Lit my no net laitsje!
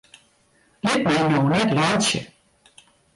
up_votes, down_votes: 0, 2